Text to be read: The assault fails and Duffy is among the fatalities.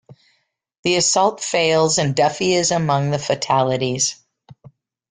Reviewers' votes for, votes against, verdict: 2, 0, accepted